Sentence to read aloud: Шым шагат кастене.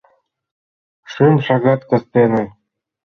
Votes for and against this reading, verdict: 3, 0, accepted